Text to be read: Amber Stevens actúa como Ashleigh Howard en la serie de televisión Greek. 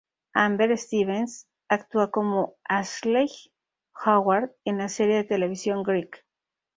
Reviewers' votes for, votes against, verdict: 4, 0, accepted